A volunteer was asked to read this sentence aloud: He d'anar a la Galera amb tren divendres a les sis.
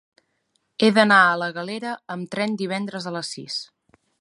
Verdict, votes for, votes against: accepted, 3, 0